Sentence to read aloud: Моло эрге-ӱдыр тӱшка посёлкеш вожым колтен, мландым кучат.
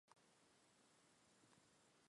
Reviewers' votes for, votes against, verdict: 0, 2, rejected